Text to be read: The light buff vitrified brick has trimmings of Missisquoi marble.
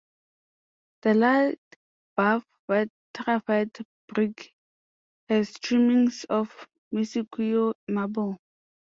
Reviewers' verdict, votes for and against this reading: rejected, 0, 2